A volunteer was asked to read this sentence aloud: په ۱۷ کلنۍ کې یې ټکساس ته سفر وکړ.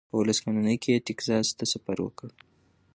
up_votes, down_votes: 0, 2